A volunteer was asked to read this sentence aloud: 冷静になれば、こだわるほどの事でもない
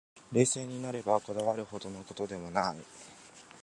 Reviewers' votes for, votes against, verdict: 7, 1, accepted